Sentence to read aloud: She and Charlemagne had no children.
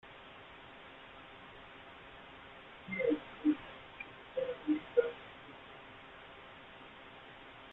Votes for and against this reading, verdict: 0, 2, rejected